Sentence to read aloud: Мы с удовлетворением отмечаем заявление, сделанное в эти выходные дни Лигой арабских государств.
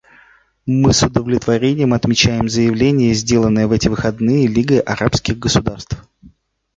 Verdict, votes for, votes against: rejected, 2, 3